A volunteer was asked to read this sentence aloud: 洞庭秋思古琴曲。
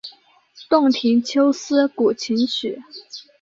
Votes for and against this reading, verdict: 2, 0, accepted